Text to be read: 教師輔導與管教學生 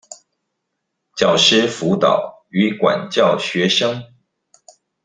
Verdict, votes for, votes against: accepted, 2, 1